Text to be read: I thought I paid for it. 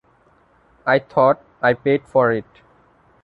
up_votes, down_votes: 1, 2